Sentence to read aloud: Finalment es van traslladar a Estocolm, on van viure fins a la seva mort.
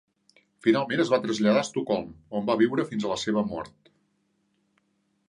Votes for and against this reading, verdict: 0, 2, rejected